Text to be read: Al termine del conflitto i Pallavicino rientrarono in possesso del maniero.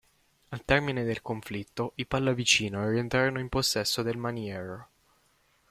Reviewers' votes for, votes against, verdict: 1, 2, rejected